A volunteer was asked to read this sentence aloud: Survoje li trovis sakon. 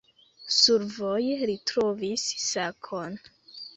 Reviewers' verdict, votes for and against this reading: accepted, 2, 1